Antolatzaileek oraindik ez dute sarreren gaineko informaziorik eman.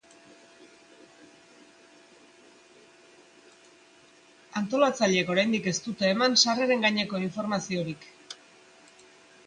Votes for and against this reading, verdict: 0, 2, rejected